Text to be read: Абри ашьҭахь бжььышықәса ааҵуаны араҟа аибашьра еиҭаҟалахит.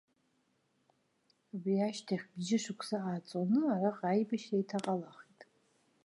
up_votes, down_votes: 2, 1